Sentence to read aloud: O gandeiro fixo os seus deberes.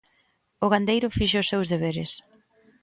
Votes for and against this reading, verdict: 2, 0, accepted